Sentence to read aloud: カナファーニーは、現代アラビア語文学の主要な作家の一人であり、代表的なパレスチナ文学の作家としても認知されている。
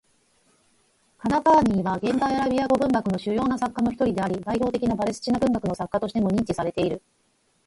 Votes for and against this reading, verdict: 2, 4, rejected